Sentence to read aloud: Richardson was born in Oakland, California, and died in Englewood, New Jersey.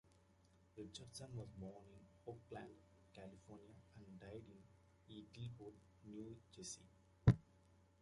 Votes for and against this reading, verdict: 0, 2, rejected